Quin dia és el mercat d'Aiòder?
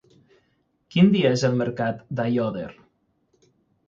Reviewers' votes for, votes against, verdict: 9, 0, accepted